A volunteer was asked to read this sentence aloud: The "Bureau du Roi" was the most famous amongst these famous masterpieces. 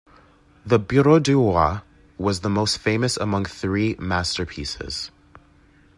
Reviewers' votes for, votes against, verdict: 0, 2, rejected